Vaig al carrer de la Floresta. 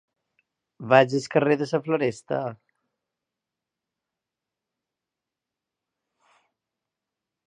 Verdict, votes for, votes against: rejected, 0, 2